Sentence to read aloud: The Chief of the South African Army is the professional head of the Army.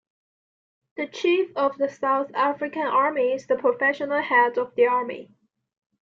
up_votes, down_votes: 2, 0